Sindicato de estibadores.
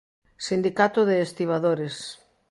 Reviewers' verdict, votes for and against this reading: accepted, 2, 0